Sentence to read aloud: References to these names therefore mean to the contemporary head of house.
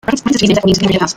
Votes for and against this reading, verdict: 0, 2, rejected